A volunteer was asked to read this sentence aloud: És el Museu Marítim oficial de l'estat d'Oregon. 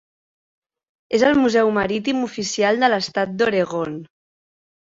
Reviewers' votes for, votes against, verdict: 4, 0, accepted